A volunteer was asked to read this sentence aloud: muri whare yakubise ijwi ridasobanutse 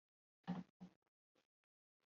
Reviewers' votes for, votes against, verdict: 0, 2, rejected